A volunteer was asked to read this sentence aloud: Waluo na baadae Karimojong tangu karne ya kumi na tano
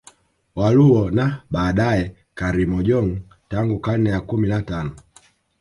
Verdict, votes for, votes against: accepted, 2, 1